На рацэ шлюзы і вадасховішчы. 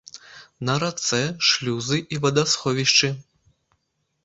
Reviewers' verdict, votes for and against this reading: accepted, 2, 0